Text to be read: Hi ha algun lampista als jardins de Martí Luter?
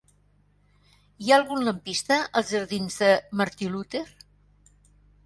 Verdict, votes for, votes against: rejected, 1, 2